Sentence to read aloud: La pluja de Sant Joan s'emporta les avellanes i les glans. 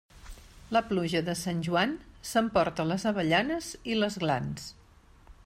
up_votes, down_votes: 2, 0